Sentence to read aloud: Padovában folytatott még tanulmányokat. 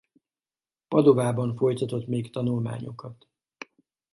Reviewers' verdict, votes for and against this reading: accepted, 2, 0